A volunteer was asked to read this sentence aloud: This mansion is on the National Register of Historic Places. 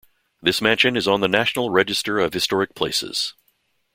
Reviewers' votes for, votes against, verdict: 2, 0, accepted